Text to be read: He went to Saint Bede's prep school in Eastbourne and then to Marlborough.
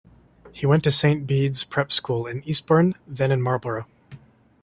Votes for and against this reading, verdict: 0, 2, rejected